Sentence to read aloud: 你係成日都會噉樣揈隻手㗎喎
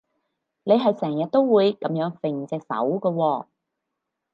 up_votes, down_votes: 4, 0